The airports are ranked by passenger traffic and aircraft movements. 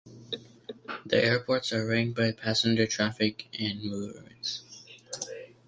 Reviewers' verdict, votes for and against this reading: rejected, 0, 2